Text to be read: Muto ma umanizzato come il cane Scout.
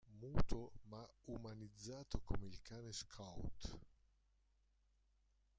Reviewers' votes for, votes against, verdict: 0, 2, rejected